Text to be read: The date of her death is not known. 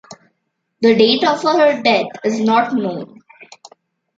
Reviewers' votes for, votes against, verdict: 1, 2, rejected